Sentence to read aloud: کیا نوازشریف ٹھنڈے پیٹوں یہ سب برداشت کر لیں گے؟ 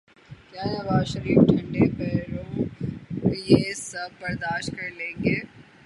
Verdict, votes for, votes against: rejected, 0, 6